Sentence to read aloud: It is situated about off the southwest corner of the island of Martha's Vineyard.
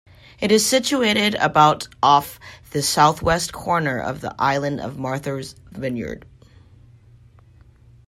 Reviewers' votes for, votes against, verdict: 2, 1, accepted